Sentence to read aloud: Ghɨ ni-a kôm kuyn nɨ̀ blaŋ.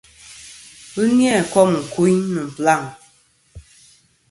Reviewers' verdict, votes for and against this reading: accepted, 2, 0